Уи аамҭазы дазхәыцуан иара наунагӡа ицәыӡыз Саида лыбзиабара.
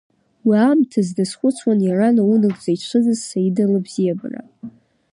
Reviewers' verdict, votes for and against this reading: accepted, 3, 1